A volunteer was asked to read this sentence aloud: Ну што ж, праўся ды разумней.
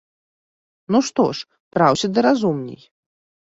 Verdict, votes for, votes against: rejected, 1, 2